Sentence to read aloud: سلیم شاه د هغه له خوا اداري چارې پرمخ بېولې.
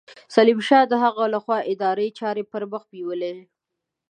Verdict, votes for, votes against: accepted, 2, 0